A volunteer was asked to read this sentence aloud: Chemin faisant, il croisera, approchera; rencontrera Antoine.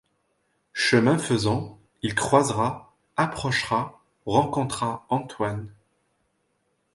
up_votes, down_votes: 1, 2